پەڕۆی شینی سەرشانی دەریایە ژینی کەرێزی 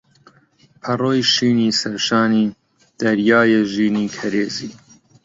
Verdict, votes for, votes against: accepted, 2, 1